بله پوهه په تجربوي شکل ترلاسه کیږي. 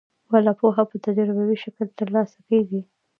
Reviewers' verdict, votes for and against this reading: accepted, 2, 0